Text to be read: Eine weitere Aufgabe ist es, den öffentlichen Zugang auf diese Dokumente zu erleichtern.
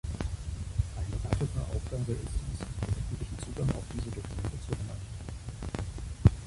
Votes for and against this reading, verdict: 0, 2, rejected